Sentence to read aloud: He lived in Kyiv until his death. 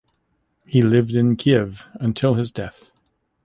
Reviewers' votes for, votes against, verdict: 2, 0, accepted